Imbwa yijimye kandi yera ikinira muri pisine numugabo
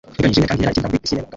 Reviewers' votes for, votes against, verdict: 0, 2, rejected